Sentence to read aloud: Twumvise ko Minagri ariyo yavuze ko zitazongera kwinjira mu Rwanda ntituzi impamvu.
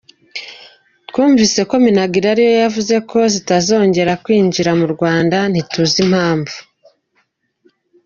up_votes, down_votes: 2, 0